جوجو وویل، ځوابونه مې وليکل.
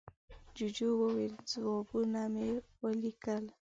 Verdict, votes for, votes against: accepted, 2, 0